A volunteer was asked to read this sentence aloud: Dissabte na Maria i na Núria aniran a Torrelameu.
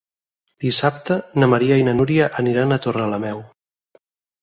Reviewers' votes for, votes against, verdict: 6, 0, accepted